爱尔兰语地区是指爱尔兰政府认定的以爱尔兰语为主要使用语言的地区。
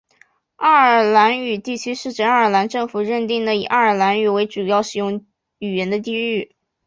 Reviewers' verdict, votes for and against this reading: accepted, 2, 0